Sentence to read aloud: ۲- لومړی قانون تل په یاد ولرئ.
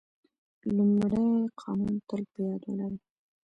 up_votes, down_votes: 0, 2